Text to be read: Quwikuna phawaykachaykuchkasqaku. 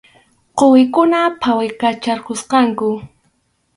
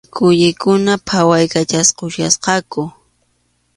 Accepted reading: second